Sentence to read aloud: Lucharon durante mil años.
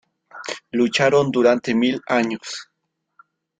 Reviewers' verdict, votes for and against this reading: accepted, 2, 1